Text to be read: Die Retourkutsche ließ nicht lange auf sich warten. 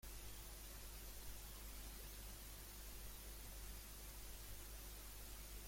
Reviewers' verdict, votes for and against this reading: rejected, 0, 2